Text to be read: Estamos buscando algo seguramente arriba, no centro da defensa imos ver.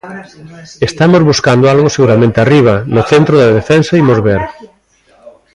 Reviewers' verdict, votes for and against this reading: rejected, 1, 2